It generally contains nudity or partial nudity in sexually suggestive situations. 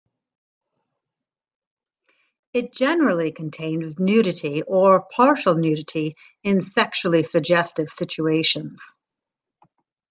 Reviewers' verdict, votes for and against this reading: rejected, 1, 2